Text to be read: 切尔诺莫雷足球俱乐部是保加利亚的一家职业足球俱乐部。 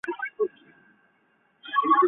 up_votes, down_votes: 0, 5